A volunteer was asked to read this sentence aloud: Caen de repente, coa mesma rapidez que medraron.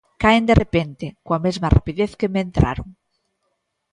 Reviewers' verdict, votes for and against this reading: rejected, 0, 2